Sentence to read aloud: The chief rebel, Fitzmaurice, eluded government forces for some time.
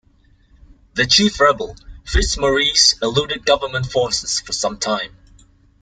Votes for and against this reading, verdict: 2, 0, accepted